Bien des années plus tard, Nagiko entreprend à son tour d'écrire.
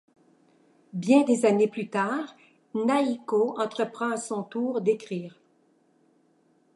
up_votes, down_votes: 0, 2